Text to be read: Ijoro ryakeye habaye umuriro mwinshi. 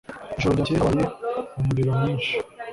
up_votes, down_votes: 0, 2